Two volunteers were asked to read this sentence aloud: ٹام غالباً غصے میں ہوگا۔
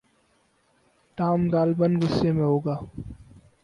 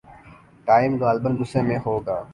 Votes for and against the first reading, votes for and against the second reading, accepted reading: 4, 0, 0, 2, first